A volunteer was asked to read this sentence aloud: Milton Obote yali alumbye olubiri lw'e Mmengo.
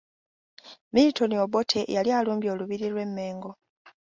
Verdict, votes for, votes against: accepted, 3, 0